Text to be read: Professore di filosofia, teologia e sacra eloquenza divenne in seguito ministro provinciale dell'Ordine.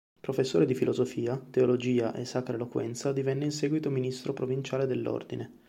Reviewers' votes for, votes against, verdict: 4, 0, accepted